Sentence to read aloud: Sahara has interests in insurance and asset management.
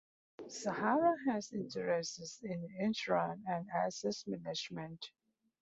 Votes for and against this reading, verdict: 2, 0, accepted